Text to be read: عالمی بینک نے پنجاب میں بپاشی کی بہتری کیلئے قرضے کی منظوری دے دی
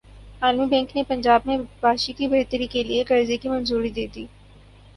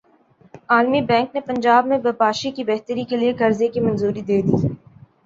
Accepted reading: second